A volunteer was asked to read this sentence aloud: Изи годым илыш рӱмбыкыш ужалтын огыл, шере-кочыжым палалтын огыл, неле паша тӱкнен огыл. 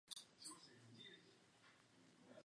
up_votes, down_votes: 2, 0